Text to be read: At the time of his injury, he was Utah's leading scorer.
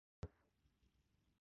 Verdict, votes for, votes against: rejected, 0, 4